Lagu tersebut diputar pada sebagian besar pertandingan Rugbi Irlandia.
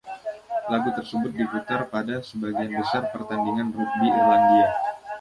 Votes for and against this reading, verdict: 0, 2, rejected